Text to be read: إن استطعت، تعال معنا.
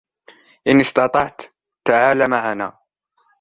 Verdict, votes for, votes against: accepted, 2, 0